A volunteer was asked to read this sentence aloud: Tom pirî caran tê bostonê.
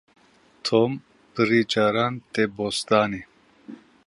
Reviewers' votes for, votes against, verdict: 1, 2, rejected